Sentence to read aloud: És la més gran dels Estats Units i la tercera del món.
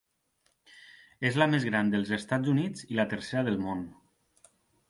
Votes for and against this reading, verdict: 2, 0, accepted